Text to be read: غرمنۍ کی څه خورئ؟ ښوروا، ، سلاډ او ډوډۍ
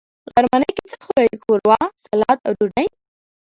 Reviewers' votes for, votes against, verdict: 0, 2, rejected